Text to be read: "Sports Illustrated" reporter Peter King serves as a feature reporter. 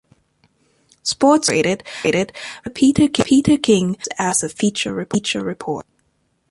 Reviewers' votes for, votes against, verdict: 0, 2, rejected